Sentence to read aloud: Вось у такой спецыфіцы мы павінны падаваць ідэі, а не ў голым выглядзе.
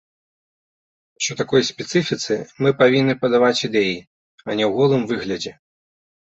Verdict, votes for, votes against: rejected, 1, 3